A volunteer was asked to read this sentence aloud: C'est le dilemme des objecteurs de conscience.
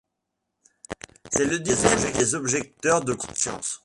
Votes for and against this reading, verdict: 1, 2, rejected